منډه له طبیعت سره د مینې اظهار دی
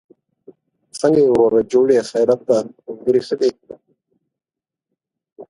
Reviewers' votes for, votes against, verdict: 0, 2, rejected